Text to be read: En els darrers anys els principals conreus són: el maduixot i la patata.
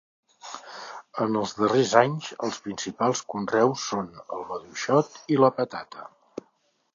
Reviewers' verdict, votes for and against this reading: accepted, 2, 0